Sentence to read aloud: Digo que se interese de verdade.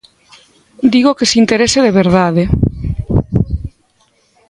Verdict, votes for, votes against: accepted, 2, 0